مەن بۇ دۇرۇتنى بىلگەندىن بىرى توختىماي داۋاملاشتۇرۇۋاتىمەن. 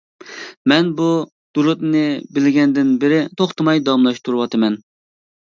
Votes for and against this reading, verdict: 2, 0, accepted